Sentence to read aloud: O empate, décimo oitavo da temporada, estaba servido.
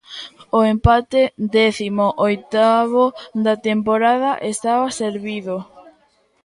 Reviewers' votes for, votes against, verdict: 1, 2, rejected